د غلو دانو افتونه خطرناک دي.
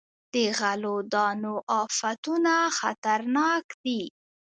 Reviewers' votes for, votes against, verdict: 2, 0, accepted